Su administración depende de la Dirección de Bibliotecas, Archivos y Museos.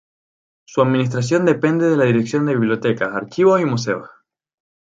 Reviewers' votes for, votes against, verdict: 2, 0, accepted